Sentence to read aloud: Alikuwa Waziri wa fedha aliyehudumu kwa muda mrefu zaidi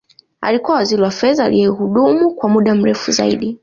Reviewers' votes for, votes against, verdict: 2, 0, accepted